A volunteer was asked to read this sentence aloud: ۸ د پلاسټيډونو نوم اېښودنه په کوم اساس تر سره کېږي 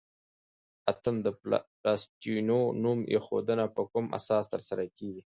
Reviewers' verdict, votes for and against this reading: rejected, 0, 2